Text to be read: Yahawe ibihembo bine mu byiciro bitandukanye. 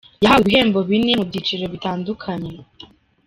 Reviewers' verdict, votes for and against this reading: accepted, 2, 0